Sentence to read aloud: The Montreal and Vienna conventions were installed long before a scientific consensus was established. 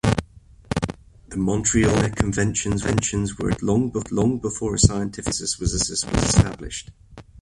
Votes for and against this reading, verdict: 0, 2, rejected